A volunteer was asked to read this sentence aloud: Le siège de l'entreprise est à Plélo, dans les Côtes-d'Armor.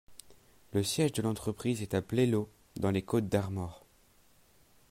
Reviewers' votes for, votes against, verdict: 2, 0, accepted